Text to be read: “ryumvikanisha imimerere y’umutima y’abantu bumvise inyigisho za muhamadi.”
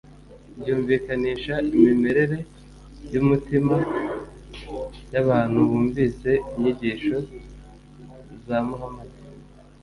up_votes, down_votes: 2, 1